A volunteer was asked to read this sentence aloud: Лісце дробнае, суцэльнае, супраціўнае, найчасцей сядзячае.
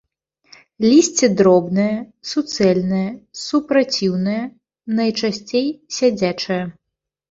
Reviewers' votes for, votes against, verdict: 2, 0, accepted